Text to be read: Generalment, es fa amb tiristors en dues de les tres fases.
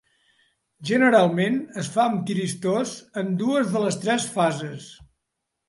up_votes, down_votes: 0, 2